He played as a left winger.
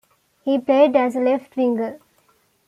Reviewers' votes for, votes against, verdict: 2, 0, accepted